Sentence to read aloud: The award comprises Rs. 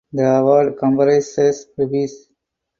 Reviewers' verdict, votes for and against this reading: rejected, 0, 4